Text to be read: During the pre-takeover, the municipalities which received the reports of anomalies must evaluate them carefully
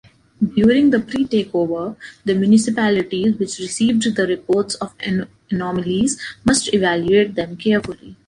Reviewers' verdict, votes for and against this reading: rejected, 1, 2